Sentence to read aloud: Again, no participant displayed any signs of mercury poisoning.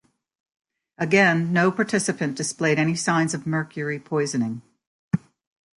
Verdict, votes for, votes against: accepted, 4, 0